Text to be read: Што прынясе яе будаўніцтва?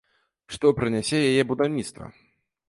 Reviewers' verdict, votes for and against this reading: accepted, 2, 1